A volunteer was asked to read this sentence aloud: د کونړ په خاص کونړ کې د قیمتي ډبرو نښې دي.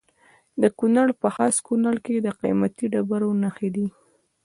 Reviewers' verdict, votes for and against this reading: accepted, 2, 0